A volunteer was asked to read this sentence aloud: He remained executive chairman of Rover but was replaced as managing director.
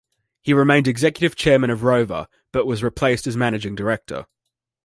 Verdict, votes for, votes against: accepted, 2, 0